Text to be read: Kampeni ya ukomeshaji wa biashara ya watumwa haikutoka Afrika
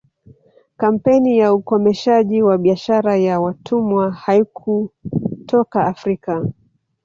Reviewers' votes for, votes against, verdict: 2, 0, accepted